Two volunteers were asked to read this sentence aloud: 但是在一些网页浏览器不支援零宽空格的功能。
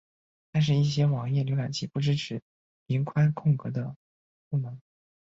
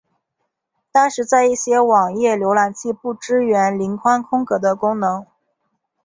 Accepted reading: second